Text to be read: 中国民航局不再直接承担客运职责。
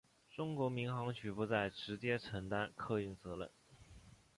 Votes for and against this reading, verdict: 2, 1, accepted